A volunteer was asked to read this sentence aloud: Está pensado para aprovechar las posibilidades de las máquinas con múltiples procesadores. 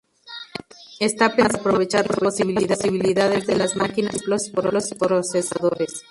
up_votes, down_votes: 0, 2